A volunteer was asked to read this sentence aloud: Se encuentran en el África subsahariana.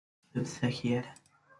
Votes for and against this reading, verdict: 0, 2, rejected